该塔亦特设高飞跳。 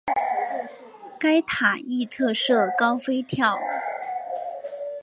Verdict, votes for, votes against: accepted, 7, 0